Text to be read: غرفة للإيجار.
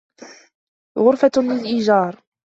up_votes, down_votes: 2, 0